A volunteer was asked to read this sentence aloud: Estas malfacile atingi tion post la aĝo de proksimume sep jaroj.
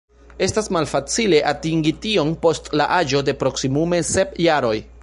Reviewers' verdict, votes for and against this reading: rejected, 1, 2